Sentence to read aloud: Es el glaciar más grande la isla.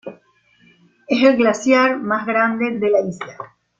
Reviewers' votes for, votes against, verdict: 2, 1, accepted